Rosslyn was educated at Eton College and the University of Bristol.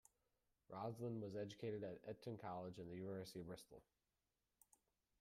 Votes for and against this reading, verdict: 0, 2, rejected